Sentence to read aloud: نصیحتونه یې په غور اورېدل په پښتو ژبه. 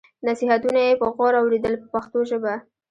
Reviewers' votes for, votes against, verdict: 0, 2, rejected